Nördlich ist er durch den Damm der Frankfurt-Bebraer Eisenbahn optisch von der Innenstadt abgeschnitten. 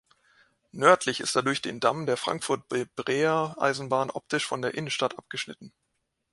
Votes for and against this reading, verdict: 1, 2, rejected